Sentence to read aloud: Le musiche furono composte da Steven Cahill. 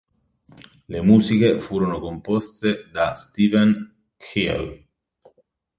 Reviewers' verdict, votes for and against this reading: rejected, 1, 2